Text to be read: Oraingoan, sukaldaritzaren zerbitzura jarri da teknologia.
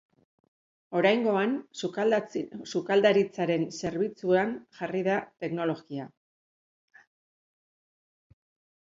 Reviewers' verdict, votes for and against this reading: rejected, 0, 3